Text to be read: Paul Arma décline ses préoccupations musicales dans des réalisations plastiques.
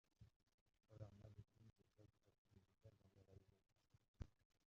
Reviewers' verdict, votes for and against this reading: rejected, 0, 2